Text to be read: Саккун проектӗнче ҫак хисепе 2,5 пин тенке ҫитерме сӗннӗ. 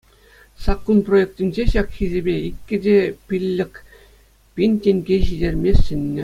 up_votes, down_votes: 0, 2